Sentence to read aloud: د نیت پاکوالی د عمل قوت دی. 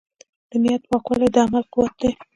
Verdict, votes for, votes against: rejected, 0, 2